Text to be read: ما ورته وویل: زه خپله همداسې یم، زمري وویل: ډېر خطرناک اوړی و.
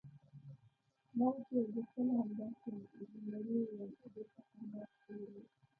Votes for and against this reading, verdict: 1, 2, rejected